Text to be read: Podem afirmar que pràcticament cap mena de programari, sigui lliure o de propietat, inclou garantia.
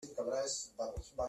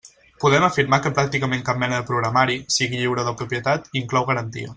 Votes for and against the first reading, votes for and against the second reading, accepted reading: 0, 2, 2, 0, second